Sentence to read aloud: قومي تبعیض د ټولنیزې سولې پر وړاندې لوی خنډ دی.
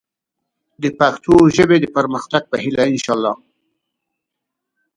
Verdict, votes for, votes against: rejected, 0, 2